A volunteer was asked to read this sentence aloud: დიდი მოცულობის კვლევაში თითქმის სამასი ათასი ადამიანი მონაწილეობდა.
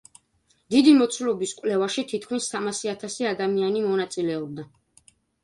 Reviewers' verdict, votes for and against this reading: accepted, 2, 0